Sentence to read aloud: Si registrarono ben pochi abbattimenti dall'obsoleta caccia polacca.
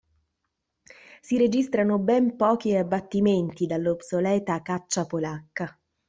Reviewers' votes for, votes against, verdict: 0, 2, rejected